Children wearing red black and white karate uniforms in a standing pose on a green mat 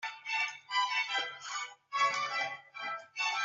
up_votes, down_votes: 0, 2